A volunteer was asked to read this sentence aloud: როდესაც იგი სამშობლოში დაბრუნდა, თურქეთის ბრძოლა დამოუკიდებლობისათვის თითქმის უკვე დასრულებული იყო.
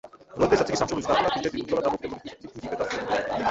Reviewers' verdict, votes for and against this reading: rejected, 0, 2